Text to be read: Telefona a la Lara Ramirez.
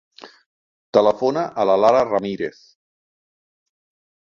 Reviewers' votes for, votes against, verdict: 2, 0, accepted